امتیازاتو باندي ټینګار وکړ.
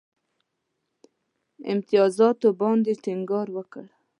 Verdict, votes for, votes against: accepted, 2, 0